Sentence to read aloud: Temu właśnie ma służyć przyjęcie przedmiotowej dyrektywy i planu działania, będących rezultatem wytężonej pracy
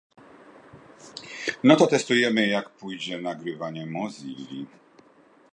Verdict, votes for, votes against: rejected, 0, 2